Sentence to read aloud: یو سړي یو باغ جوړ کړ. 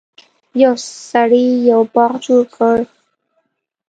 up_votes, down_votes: 2, 0